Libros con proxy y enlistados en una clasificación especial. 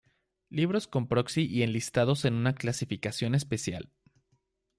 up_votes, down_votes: 2, 0